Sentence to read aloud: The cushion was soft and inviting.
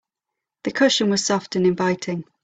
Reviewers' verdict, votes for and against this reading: accepted, 2, 0